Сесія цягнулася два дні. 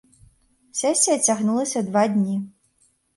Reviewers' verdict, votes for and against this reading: accepted, 2, 0